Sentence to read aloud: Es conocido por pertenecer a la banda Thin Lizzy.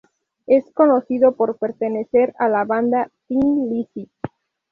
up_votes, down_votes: 0, 2